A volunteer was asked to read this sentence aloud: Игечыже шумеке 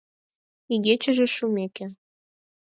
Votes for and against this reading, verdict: 4, 0, accepted